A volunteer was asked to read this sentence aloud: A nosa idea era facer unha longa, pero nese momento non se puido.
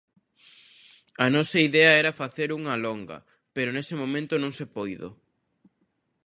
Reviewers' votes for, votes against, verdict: 1, 2, rejected